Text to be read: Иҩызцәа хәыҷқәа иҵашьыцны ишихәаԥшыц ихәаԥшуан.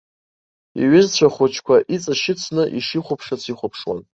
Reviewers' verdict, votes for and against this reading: accepted, 3, 0